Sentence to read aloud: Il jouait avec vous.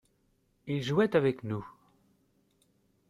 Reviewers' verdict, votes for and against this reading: rejected, 0, 2